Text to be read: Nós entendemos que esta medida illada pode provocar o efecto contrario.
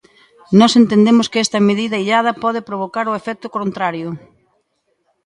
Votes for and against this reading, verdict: 3, 0, accepted